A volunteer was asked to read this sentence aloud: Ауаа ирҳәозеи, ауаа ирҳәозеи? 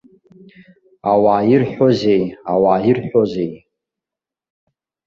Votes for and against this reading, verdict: 2, 0, accepted